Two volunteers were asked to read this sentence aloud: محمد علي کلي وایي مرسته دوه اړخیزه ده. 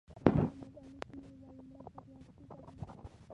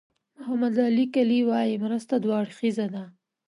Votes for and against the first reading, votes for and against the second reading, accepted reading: 0, 2, 2, 0, second